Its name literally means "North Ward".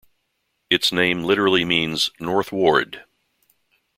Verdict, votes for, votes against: accepted, 2, 0